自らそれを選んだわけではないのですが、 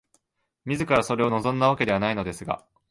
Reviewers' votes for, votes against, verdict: 0, 2, rejected